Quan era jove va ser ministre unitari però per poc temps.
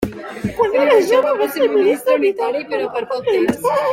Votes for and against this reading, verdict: 0, 3, rejected